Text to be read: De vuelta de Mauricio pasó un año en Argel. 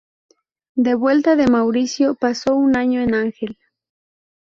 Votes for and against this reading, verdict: 0, 2, rejected